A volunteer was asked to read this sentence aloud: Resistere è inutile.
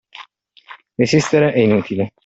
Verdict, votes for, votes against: accepted, 2, 0